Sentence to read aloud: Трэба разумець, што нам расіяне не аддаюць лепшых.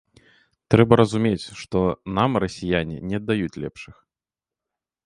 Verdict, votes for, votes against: accepted, 2, 0